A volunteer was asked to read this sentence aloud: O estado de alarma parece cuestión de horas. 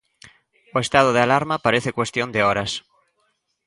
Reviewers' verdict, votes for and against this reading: accepted, 2, 0